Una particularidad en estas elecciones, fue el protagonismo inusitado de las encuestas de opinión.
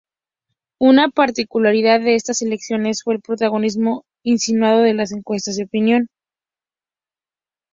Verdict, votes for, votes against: rejected, 0, 2